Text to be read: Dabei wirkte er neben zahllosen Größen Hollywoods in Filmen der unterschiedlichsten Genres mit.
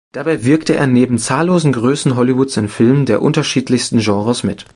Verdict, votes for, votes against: accepted, 2, 0